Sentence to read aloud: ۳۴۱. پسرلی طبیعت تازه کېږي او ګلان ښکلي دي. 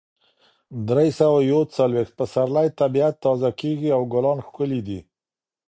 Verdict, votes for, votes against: rejected, 0, 2